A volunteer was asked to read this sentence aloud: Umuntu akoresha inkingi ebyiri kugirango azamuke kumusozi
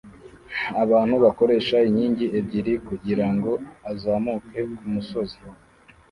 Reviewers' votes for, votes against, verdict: 0, 2, rejected